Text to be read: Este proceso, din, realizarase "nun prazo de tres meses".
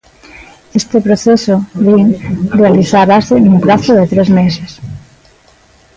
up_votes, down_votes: 2, 1